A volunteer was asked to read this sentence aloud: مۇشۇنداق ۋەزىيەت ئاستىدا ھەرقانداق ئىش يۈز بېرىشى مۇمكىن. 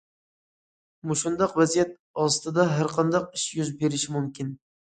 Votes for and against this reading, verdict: 2, 0, accepted